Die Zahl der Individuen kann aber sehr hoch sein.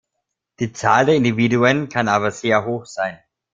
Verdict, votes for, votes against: accepted, 2, 0